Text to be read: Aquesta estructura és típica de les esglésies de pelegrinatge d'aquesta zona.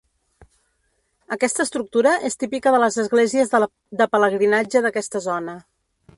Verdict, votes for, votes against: rejected, 1, 2